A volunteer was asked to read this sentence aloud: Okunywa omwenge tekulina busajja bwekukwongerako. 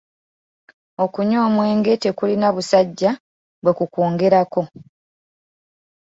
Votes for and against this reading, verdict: 2, 0, accepted